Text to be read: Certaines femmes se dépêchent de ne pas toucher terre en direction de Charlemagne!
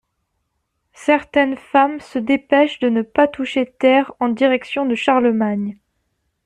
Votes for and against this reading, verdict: 2, 0, accepted